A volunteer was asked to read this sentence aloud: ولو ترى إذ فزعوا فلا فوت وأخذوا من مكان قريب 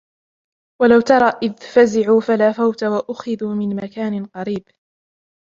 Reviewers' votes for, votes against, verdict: 2, 0, accepted